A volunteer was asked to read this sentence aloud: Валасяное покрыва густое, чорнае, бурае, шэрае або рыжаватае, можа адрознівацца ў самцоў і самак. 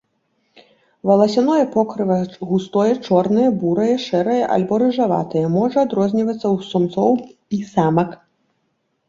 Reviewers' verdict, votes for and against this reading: rejected, 0, 2